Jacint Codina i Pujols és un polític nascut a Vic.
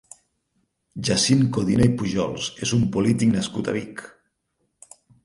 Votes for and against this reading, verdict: 4, 2, accepted